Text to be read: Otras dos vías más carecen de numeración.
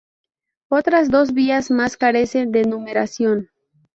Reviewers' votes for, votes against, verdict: 2, 0, accepted